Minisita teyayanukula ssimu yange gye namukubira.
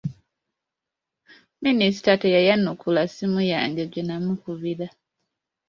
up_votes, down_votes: 2, 0